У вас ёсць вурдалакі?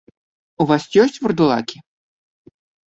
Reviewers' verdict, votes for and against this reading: accepted, 2, 0